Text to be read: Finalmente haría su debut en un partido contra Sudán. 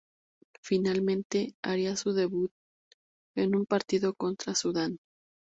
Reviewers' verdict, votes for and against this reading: rejected, 2, 2